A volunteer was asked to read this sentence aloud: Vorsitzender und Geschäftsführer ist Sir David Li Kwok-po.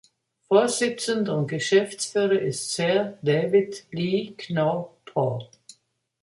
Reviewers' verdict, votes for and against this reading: rejected, 1, 2